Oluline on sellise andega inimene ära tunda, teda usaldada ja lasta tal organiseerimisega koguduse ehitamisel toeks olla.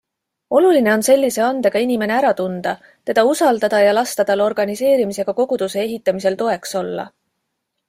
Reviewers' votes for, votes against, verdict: 2, 0, accepted